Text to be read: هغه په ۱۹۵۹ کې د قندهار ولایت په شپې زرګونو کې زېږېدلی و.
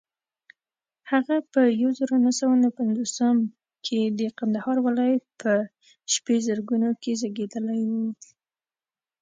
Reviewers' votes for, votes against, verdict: 0, 2, rejected